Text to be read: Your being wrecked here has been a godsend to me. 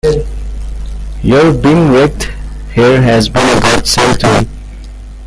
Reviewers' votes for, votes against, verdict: 0, 2, rejected